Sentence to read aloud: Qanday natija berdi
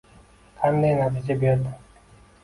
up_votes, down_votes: 2, 0